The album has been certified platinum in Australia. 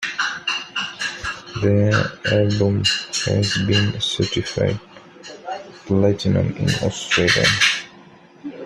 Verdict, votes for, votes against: rejected, 1, 2